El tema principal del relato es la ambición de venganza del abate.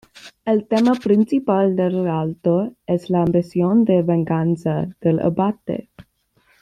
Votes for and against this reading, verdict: 2, 0, accepted